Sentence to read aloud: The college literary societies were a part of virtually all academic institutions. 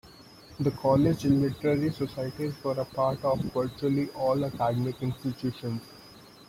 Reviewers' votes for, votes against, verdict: 0, 2, rejected